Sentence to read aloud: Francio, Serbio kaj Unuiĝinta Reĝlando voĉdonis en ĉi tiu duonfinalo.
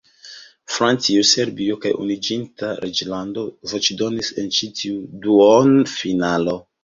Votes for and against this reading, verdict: 1, 2, rejected